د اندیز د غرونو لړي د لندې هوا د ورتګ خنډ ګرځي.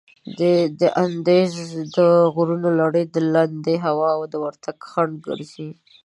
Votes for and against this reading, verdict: 0, 3, rejected